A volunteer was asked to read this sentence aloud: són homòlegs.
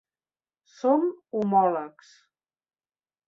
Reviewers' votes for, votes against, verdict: 1, 2, rejected